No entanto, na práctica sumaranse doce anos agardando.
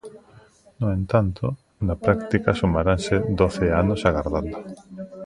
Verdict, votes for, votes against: accepted, 2, 1